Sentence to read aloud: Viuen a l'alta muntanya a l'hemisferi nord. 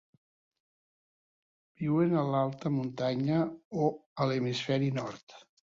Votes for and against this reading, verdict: 0, 2, rejected